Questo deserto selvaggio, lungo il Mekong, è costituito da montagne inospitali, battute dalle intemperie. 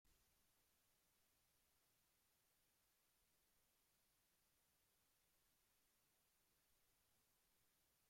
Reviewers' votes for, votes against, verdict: 0, 2, rejected